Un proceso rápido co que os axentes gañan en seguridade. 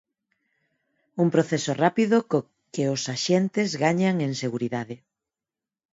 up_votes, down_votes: 4, 2